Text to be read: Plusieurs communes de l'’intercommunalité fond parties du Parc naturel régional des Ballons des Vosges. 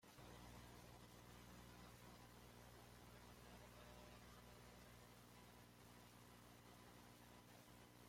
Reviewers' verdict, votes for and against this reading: rejected, 0, 2